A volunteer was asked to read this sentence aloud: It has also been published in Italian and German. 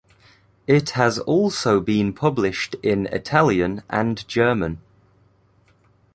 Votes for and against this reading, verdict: 2, 0, accepted